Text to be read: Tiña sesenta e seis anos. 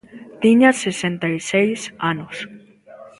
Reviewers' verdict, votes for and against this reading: rejected, 1, 2